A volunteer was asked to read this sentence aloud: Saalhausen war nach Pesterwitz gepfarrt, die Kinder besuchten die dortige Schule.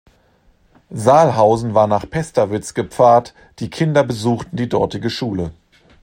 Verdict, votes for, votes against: accepted, 2, 0